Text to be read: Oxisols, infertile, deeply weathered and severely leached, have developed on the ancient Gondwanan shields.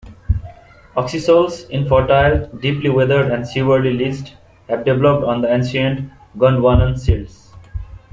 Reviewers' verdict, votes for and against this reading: rejected, 0, 2